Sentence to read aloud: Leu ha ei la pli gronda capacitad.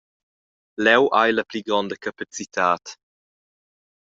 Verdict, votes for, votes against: accepted, 2, 0